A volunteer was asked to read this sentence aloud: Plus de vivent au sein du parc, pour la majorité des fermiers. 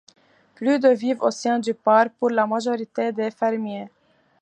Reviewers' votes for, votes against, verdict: 2, 0, accepted